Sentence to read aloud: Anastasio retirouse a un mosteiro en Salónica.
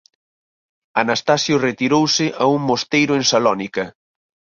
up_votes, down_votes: 4, 0